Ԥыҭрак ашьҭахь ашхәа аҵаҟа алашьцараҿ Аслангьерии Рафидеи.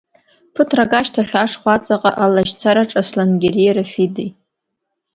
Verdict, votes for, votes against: accepted, 2, 0